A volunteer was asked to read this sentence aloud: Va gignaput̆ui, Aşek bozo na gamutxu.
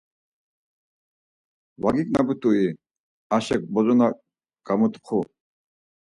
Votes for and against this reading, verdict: 4, 0, accepted